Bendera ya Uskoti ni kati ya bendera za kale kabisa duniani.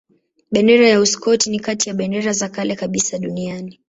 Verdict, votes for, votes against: accepted, 2, 0